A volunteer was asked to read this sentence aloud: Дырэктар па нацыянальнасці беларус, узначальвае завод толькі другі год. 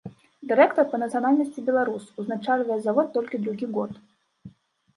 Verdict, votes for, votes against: accepted, 3, 1